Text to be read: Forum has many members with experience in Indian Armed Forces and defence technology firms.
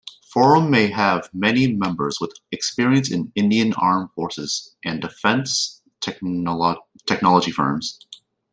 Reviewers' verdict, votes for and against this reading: rejected, 0, 2